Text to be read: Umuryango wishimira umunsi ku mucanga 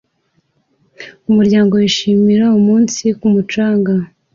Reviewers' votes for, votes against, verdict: 2, 0, accepted